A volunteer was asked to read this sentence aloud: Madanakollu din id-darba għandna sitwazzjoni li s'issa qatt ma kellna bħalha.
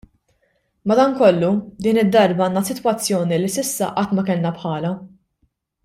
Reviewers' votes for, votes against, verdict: 2, 0, accepted